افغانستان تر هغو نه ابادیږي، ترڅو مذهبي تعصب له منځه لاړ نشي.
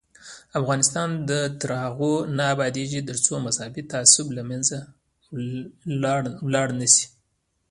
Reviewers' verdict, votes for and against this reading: accepted, 2, 1